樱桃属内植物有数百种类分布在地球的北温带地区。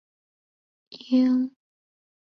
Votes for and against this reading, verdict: 0, 2, rejected